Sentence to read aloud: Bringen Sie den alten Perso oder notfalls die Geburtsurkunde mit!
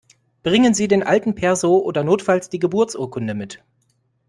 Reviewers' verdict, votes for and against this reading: accepted, 2, 0